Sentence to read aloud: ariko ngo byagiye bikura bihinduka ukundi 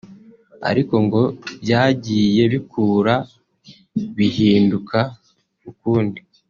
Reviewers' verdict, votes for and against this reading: rejected, 1, 2